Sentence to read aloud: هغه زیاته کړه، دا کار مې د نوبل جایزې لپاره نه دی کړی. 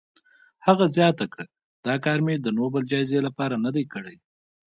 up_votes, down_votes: 2, 1